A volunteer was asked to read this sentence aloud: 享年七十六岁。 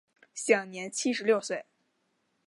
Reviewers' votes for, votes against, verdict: 2, 1, accepted